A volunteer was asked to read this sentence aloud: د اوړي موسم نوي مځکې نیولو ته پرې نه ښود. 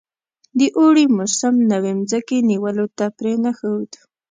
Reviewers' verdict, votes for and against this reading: accepted, 2, 0